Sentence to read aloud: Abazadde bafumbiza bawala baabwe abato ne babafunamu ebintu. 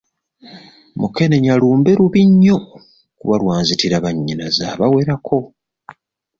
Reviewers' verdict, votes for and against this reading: rejected, 0, 2